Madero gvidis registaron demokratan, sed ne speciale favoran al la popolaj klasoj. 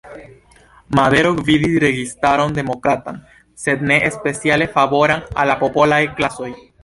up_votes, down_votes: 1, 2